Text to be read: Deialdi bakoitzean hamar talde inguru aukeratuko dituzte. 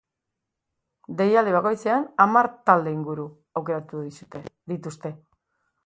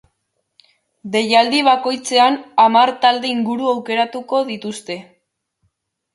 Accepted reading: second